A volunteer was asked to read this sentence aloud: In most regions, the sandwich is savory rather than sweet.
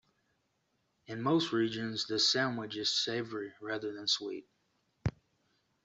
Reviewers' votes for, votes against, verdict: 2, 0, accepted